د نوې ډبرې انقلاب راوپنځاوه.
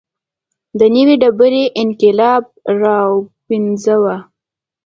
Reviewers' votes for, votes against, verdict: 2, 0, accepted